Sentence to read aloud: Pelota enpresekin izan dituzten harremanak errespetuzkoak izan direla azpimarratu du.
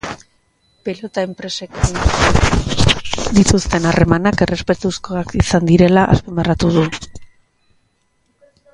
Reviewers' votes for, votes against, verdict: 0, 2, rejected